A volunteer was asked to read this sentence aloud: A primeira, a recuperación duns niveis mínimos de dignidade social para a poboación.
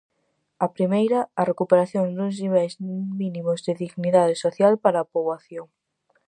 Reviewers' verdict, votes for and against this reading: rejected, 0, 4